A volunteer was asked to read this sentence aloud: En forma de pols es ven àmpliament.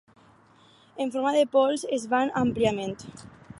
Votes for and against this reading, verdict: 0, 4, rejected